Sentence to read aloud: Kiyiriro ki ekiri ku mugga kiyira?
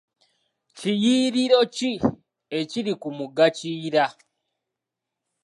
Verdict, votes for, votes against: accepted, 3, 0